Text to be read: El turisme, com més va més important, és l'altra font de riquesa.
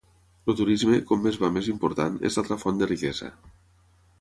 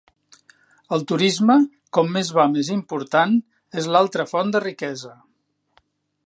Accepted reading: second